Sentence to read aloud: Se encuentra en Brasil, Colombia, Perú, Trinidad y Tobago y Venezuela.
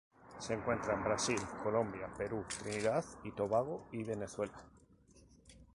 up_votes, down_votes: 0, 2